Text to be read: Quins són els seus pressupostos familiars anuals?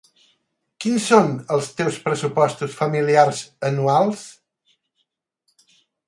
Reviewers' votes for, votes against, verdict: 4, 8, rejected